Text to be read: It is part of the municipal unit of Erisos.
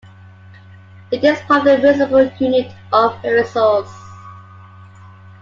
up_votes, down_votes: 0, 2